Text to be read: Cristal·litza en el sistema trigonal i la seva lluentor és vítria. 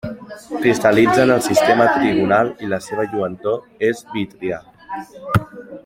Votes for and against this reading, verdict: 2, 1, accepted